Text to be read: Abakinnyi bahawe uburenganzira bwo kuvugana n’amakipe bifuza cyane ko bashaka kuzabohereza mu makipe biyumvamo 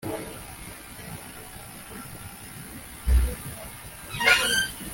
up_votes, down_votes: 0, 2